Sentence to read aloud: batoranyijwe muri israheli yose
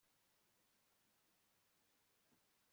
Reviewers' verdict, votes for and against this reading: rejected, 1, 2